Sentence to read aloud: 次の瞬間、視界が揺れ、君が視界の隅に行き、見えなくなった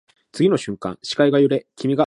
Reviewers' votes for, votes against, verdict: 0, 2, rejected